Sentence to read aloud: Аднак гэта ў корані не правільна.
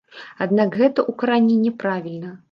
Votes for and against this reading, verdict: 1, 2, rejected